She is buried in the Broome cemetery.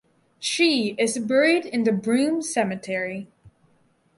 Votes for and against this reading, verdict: 4, 0, accepted